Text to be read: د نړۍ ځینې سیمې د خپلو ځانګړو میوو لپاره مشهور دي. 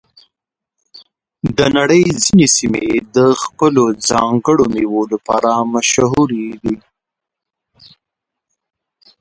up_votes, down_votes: 0, 3